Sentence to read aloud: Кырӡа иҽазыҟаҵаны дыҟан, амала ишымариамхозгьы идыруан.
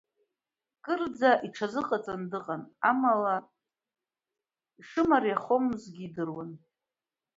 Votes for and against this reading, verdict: 2, 0, accepted